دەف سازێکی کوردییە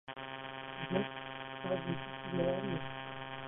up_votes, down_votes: 0, 2